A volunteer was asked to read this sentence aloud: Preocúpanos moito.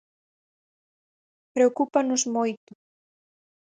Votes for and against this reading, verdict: 4, 0, accepted